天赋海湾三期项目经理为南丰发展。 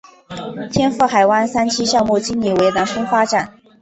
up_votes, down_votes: 2, 0